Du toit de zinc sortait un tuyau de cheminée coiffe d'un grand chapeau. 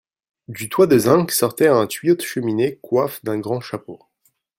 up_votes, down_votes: 1, 2